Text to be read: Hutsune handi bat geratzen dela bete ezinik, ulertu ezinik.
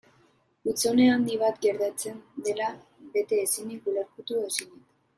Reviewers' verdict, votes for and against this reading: rejected, 2, 3